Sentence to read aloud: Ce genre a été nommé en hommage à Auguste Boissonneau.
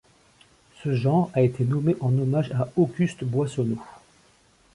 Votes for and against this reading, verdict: 2, 0, accepted